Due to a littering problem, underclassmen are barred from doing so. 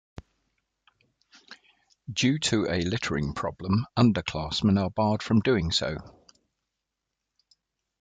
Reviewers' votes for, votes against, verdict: 2, 0, accepted